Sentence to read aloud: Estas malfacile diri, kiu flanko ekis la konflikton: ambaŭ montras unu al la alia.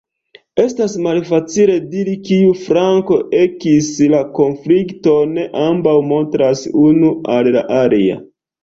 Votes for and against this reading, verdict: 1, 2, rejected